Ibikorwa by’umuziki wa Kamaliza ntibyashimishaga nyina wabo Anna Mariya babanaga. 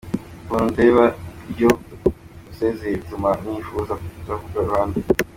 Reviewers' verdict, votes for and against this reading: rejected, 0, 2